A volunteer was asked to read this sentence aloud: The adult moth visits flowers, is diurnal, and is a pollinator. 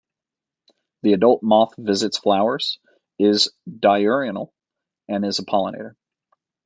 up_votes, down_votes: 1, 2